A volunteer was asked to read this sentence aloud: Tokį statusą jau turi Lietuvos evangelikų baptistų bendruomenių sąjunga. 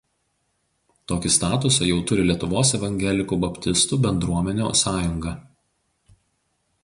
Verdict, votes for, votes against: rejected, 0, 2